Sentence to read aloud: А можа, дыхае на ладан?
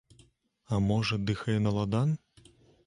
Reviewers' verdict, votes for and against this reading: rejected, 1, 2